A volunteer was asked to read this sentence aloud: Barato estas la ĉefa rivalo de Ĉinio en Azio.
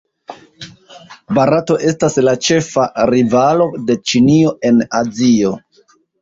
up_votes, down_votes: 2, 0